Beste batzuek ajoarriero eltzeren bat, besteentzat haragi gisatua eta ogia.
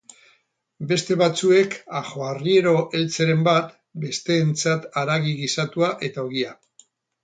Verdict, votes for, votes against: accepted, 4, 0